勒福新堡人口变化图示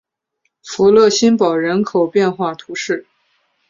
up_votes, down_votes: 2, 1